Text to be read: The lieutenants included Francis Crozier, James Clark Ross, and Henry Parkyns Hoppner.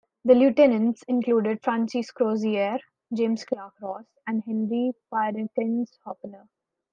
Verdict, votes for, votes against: rejected, 0, 2